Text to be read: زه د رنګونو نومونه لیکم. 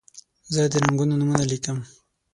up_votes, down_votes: 0, 6